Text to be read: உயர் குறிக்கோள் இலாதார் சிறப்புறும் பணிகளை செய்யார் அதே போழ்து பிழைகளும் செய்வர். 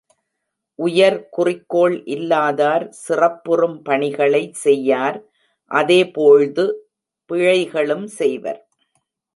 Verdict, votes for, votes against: accepted, 2, 1